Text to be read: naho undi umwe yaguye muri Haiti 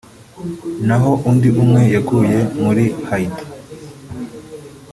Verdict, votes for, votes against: rejected, 1, 2